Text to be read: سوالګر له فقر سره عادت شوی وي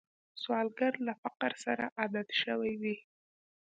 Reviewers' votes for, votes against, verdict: 2, 0, accepted